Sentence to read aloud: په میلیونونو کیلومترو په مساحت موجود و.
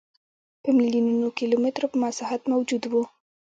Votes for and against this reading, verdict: 1, 2, rejected